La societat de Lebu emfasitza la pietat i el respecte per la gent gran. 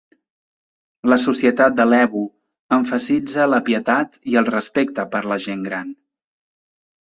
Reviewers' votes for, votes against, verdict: 2, 0, accepted